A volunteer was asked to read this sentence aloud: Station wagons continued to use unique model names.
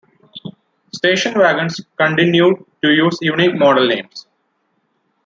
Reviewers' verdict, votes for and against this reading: accepted, 2, 1